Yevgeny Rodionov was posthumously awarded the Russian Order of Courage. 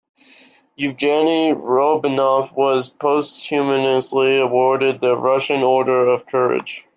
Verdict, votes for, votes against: accepted, 2, 0